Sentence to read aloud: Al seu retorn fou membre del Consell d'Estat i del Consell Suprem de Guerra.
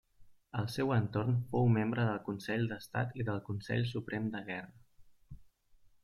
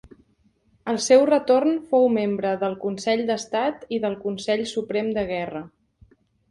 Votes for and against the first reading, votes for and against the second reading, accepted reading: 1, 2, 2, 0, second